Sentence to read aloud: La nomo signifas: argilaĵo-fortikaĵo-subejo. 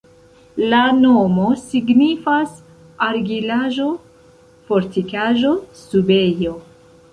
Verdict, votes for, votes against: accepted, 2, 0